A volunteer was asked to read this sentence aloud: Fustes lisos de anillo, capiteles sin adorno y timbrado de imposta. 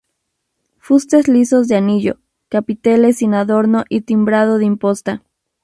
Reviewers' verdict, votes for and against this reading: accepted, 2, 0